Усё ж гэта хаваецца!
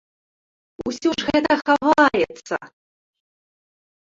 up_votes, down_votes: 0, 2